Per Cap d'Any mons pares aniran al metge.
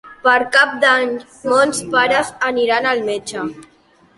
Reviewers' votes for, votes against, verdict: 2, 1, accepted